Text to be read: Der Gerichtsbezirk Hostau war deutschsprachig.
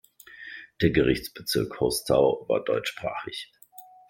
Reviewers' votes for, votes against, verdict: 2, 0, accepted